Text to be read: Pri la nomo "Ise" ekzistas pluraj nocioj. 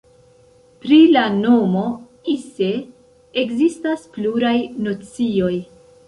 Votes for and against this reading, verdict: 1, 2, rejected